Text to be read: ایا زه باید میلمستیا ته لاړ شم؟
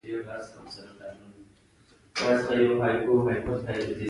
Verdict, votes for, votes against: rejected, 1, 2